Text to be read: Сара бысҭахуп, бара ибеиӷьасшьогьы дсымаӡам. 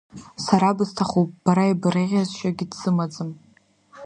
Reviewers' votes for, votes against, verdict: 1, 2, rejected